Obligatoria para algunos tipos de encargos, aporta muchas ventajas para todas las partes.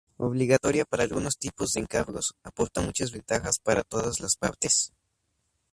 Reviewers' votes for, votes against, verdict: 0, 2, rejected